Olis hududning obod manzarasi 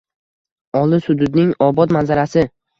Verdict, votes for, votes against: accepted, 2, 0